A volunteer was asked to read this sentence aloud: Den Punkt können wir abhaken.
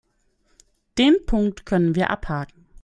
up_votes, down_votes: 1, 2